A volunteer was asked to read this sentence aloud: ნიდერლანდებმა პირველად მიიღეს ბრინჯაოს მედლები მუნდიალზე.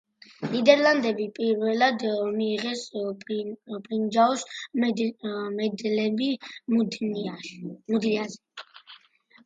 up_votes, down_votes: 0, 2